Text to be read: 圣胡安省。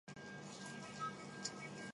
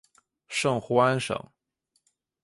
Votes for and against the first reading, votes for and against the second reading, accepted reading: 2, 7, 2, 0, second